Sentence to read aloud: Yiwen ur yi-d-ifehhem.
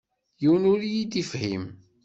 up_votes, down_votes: 2, 0